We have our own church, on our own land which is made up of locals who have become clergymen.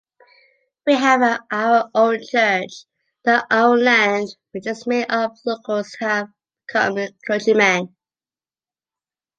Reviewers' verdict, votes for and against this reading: rejected, 0, 2